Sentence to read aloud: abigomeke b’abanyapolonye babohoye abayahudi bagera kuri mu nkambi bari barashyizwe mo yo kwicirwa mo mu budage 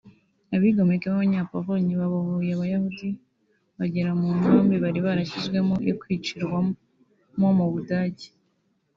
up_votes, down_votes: 2, 1